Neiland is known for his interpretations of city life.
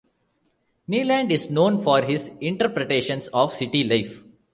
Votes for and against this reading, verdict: 1, 2, rejected